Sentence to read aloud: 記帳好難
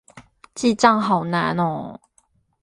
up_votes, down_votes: 0, 4